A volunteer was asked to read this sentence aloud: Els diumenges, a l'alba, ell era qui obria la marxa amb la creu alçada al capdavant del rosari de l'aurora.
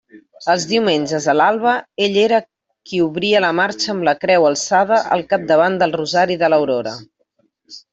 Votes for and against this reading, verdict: 1, 2, rejected